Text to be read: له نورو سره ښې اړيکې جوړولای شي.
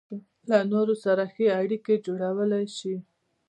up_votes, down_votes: 0, 2